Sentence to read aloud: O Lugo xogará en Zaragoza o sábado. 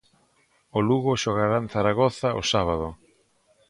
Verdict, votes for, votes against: accepted, 3, 0